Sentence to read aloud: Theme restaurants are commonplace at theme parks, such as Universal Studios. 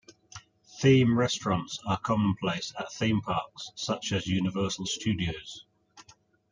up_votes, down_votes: 1, 2